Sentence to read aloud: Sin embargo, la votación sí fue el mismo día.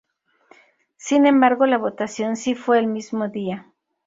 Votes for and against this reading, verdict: 2, 0, accepted